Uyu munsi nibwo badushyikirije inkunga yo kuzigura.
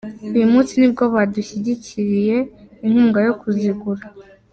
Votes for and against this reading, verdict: 0, 2, rejected